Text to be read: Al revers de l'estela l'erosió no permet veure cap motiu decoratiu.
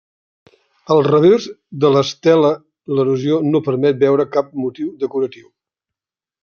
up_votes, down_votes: 2, 1